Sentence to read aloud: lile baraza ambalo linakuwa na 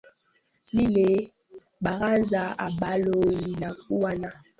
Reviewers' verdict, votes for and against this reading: accepted, 2, 0